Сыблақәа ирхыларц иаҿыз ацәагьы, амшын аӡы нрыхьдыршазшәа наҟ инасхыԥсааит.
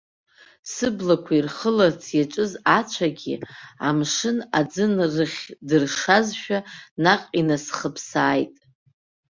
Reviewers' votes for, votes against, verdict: 2, 4, rejected